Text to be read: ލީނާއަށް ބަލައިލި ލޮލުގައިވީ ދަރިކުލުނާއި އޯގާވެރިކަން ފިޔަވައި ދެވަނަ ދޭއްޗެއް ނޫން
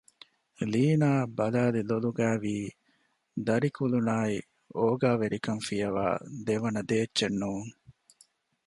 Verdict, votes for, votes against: accepted, 2, 1